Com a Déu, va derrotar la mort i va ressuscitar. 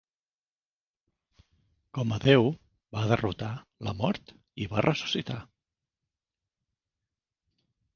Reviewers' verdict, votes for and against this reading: accepted, 4, 0